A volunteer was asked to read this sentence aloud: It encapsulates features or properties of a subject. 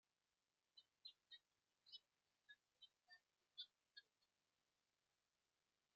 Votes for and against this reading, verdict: 0, 2, rejected